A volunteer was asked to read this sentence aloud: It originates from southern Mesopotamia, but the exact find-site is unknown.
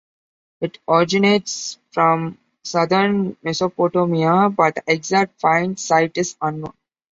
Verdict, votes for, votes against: accepted, 2, 1